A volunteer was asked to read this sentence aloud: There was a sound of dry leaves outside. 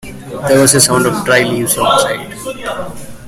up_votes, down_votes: 1, 2